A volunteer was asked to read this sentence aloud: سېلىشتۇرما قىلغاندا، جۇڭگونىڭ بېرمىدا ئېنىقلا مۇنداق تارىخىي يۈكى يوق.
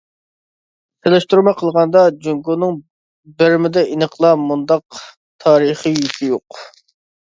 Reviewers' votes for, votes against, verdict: 2, 1, accepted